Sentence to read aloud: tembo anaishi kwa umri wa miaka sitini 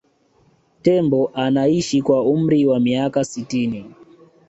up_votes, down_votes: 2, 0